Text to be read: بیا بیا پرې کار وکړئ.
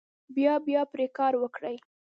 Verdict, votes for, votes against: rejected, 0, 2